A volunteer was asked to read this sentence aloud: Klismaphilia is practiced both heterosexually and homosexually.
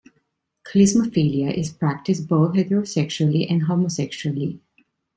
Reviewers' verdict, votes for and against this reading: accepted, 2, 0